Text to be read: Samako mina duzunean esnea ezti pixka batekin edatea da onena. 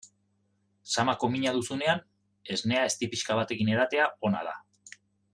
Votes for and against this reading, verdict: 0, 2, rejected